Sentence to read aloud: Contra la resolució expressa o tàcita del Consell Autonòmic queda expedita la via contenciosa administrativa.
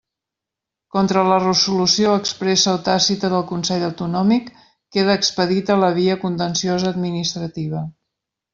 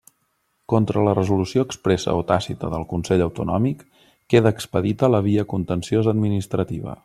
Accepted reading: second